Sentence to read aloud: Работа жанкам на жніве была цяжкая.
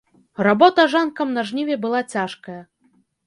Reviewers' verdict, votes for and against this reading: rejected, 0, 2